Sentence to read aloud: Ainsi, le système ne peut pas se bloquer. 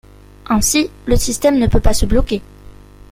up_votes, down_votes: 0, 2